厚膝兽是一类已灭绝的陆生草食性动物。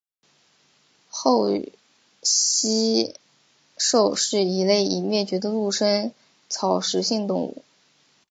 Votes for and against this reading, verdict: 2, 0, accepted